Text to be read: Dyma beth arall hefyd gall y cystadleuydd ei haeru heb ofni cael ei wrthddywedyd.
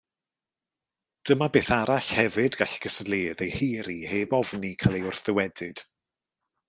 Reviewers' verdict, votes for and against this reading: accepted, 2, 0